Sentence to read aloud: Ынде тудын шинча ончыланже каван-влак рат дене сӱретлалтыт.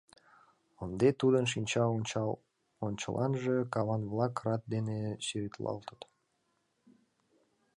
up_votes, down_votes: 1, 2